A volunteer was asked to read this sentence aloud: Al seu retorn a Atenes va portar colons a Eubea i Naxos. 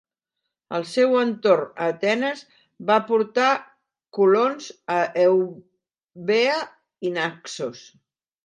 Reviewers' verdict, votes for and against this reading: rejected, 0, 2